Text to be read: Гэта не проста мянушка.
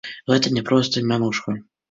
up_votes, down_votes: 2, 0